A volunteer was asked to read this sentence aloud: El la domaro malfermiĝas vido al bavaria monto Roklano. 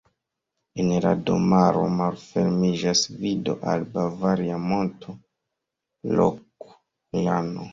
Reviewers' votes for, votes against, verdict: 0, 2, rejected